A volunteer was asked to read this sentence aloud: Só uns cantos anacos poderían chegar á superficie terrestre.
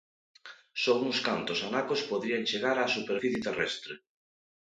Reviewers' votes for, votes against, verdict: 1, 2, rejected